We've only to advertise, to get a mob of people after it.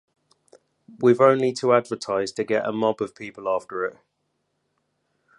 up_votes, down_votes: 2, 0